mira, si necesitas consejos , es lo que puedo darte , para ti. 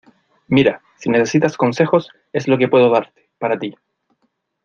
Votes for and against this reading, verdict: 2, 1, accepted